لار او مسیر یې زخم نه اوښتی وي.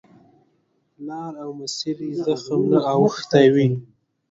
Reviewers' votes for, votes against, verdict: 2, 1, accepted